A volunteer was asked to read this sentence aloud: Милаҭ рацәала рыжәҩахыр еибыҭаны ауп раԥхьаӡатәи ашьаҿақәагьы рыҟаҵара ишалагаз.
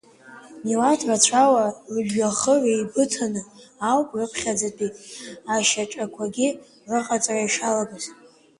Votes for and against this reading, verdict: 1, 2, rejected